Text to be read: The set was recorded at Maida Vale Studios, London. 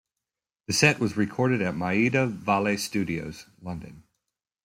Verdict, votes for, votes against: rejected, 0, 2